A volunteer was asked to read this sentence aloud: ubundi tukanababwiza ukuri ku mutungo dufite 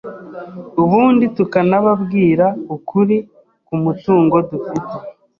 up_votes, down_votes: 1, 2